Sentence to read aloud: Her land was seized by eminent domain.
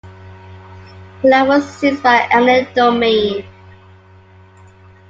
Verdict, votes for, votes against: rejected, 0, 2